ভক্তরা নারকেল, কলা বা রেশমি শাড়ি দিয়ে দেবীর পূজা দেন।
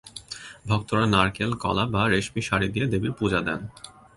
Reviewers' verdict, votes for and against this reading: accepted, 2, 0